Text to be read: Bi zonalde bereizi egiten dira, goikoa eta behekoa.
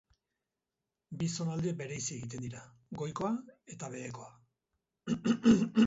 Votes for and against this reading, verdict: 2, 0, accepted